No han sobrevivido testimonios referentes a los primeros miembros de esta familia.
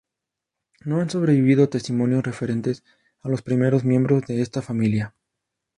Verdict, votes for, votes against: accepted, 2, 0